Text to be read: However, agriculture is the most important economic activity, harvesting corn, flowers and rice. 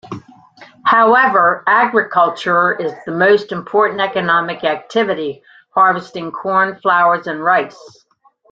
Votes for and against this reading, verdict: 2, 0, accepted